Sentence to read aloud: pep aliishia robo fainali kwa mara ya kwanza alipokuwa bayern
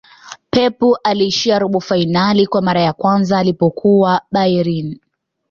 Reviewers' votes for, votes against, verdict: 0, 2, rejected